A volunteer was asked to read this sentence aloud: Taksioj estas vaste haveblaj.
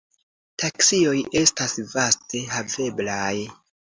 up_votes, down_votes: 3, 0